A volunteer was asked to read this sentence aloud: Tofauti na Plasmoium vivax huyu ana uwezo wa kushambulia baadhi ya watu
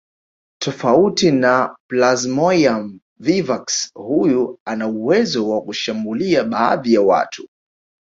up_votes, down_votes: 1, 2